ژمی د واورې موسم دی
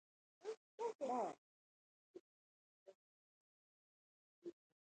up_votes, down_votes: 2, 0